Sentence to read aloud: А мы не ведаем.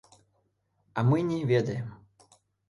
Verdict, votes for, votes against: rejected, 0, 2